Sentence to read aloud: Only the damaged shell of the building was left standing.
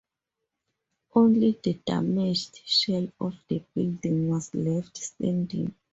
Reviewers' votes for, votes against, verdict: 2, 0, accepted